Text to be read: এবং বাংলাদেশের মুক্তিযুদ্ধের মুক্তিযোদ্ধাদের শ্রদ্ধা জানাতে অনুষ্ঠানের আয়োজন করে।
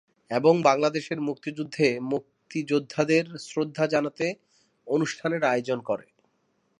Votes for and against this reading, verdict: 5, 0, accepted